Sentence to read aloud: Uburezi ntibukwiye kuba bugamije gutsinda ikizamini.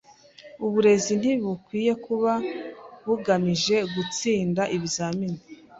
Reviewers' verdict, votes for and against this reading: rejected, 1, 2